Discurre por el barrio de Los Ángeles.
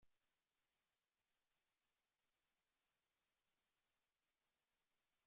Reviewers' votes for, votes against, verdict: 0, 2, rejected